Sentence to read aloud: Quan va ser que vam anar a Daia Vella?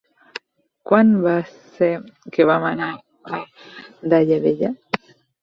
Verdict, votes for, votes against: accepted, 4, 2